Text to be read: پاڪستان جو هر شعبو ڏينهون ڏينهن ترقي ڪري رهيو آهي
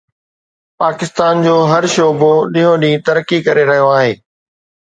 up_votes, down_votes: 2, 0